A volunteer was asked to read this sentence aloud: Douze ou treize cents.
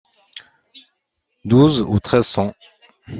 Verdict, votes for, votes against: accepted, 2, 1